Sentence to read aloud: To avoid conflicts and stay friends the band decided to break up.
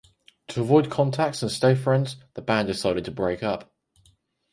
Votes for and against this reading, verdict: 2, 4, rejected